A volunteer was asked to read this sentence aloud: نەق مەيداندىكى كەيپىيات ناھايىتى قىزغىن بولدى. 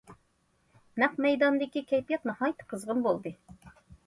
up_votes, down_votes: 2, 0